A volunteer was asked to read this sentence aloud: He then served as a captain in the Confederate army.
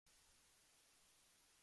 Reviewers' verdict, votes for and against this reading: rejected, 0, 2